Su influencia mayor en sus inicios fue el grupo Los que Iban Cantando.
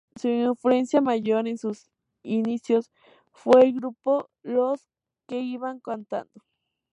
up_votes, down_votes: 0, 2